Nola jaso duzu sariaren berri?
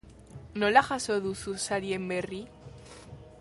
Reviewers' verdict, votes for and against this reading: rejected, 0, 2